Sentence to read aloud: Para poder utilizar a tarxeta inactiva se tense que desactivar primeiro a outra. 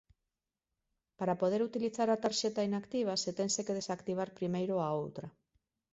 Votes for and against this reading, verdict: 2, 1, accepted